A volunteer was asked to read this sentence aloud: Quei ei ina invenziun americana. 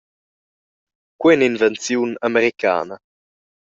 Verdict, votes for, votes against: accepted, 2, 1